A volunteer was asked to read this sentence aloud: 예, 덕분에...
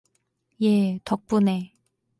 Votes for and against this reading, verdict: 4, 0, accepted